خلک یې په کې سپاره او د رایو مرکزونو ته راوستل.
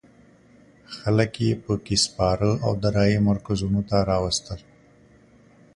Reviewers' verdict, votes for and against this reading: accepted, 2, 0